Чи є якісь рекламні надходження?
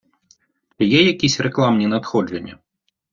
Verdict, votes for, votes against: rejected, 1, 2